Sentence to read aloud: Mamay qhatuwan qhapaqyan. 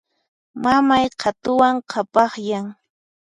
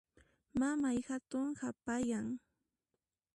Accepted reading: first